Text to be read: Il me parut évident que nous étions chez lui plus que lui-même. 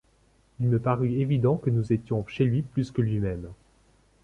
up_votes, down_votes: 2, 0